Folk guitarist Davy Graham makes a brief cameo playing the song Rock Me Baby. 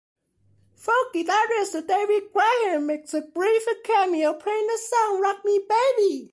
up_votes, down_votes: 2, 1